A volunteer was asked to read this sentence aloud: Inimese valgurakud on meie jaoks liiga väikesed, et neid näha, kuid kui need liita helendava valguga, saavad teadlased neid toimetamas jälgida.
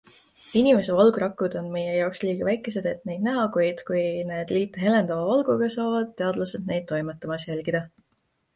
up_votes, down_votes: 2, 0